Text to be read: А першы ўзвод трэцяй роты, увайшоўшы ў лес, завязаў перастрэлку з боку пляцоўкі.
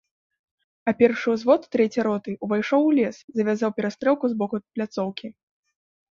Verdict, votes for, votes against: rejected, 1, 2